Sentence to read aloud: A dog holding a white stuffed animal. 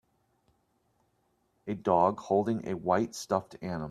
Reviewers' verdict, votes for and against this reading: rejected, 0, 2